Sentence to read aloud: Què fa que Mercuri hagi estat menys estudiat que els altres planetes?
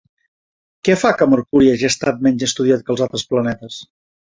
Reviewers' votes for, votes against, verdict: 2, 0, accepted